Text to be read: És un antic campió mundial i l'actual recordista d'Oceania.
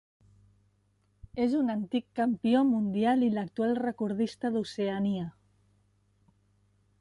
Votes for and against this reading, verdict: 3, 0, accepted